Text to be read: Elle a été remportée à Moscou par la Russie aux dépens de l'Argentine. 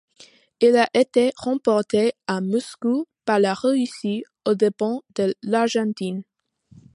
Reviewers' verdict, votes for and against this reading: accepted, 2, 0